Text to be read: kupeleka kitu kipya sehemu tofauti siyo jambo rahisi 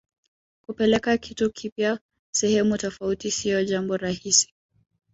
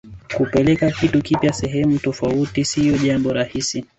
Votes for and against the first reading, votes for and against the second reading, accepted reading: 2, 0, 1, 2, first